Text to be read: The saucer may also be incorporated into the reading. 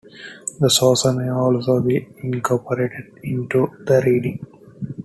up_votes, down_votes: 2, 0